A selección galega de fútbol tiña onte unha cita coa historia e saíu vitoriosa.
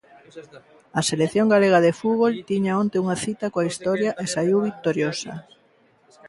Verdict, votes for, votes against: rejected, 0, 2